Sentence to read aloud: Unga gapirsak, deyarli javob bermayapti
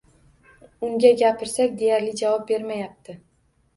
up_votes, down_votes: 1, 2